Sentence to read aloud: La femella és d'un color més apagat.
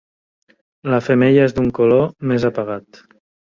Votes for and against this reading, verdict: 3, 0, accepted